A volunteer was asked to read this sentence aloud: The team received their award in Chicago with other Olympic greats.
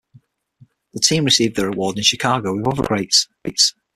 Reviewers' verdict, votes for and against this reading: rejected, 0, 6